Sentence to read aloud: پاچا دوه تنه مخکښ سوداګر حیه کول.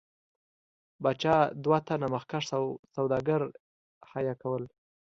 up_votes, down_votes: 1, 2